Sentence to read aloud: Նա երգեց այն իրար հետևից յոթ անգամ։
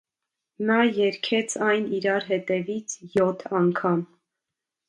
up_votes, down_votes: 2, 0